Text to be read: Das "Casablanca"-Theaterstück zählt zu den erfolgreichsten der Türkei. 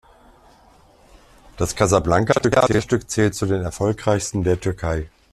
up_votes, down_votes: 0, 2